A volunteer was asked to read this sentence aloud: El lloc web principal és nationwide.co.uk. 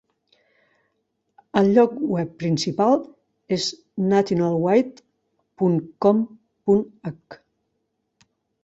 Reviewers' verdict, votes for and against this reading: rejected, 0, 3